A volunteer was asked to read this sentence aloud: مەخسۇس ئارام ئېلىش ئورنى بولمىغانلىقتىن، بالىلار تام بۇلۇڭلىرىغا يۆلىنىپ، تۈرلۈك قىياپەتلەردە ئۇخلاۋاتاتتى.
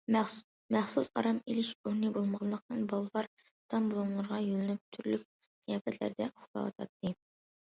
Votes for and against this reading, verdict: 1, 2, rejected